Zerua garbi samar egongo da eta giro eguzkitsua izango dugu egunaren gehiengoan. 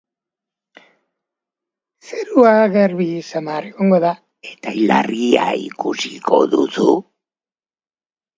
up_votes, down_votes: 0, 2